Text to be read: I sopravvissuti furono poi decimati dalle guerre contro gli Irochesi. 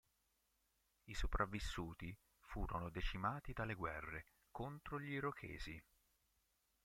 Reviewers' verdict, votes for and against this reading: rejected, 3, 4